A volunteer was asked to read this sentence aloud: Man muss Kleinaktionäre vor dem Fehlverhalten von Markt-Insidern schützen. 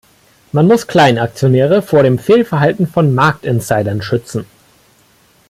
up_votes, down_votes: 2, 1